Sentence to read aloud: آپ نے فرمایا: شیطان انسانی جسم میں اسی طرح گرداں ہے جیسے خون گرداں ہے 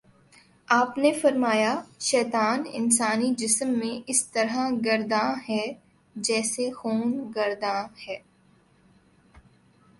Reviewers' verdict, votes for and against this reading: accepted, 2, 0